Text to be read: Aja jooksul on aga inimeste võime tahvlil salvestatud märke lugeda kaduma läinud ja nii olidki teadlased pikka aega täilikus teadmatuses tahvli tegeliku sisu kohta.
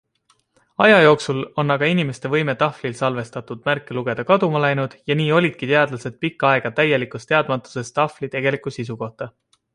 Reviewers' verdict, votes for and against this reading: accepted, 2, 0